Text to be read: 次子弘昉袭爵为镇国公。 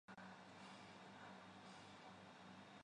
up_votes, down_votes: 0, 2